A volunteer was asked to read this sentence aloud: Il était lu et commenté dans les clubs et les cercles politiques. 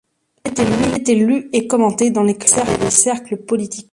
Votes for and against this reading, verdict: 0, 2, rejected